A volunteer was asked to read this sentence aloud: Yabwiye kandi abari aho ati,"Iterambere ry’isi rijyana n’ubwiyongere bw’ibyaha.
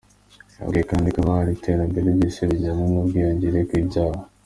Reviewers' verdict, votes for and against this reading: accepted, 2, 0